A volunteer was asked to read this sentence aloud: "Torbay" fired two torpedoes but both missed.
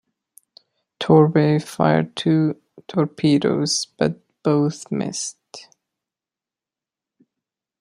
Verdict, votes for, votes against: accepted, 2, 0